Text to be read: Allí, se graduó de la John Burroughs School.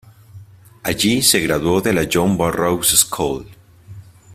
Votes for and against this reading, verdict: 2, 0, accepted